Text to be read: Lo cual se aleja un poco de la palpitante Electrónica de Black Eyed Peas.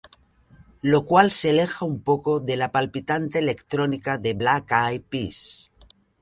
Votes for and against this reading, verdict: 0, 2, rejected